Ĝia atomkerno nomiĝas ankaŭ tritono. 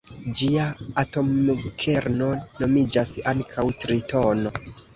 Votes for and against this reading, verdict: 2, 0, accepted